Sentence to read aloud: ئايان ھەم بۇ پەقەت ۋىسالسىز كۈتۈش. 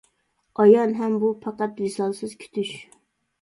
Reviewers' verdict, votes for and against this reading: accepted, 2, 0